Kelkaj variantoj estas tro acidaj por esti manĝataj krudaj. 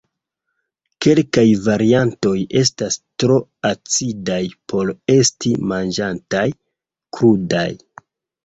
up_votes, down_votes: 2, 1